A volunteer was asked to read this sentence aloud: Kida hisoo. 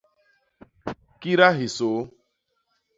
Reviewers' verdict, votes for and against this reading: rejected, 1, 2